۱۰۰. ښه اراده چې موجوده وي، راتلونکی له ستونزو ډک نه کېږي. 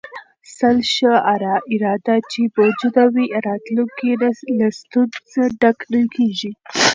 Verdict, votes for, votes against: rejected, 0, 2